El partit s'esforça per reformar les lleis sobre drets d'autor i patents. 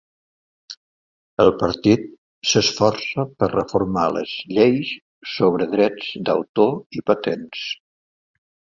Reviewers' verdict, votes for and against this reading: accepted, 2, 0